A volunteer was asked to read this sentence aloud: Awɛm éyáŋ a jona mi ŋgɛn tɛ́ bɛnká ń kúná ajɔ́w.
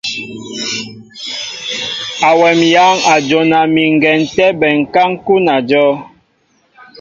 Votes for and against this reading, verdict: 2, 0, accepted